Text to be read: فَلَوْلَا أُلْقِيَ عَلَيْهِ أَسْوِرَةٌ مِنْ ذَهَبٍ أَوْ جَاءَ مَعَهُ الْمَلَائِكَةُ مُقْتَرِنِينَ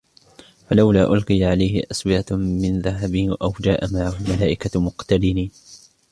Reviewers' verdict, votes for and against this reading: rejected, 0, 2